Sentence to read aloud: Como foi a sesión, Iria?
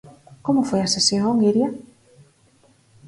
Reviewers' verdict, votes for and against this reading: accepted, 6, 0